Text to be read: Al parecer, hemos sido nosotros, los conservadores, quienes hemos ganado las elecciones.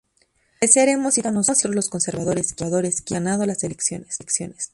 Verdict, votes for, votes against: rejected, 0, 2